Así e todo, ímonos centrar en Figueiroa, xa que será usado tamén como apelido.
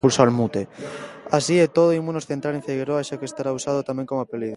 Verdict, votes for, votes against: rejected, 0, 2